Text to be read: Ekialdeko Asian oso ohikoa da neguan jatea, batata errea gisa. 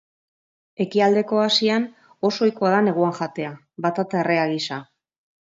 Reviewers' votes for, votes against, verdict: 2, 0, accepted